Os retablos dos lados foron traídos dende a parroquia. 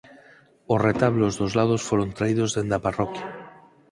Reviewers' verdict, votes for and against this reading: accepted, 4, 0